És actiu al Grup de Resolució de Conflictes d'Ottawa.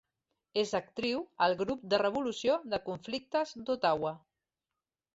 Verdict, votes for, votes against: rejected, 1, 2